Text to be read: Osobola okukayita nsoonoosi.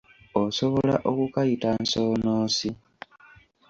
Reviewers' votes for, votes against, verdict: 2, 0, accepted